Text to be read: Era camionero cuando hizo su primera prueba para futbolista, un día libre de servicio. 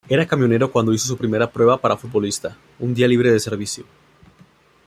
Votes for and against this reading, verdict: 2, 0, accepted